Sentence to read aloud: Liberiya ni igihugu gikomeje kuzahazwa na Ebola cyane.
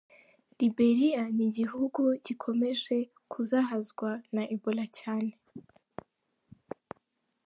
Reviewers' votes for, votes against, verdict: 3, 0, accepted